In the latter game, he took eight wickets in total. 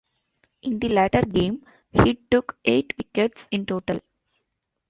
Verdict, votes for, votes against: accepted, 2, 0